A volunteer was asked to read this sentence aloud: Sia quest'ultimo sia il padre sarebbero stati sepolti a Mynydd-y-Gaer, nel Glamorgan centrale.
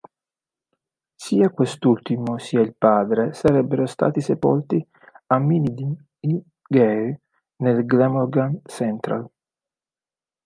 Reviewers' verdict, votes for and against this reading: rejected, 1, 2